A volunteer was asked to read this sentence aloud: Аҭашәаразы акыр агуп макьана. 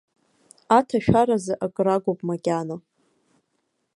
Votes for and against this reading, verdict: 2, 0, accepted